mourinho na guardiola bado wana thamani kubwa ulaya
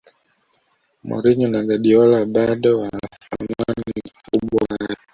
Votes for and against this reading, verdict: 0, 2, rejected